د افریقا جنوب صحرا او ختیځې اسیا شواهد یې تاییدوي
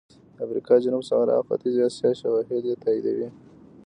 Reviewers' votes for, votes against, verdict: 1, 2, rejected